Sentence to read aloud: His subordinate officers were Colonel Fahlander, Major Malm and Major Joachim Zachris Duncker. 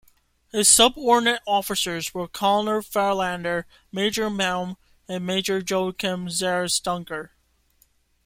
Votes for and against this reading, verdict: 2, 0, accepted